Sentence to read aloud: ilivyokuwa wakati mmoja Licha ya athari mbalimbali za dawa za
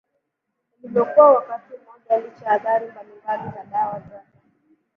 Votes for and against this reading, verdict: 3, 1, accepted